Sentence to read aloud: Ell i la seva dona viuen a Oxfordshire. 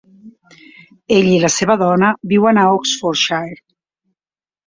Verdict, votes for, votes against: accepted, 3, 0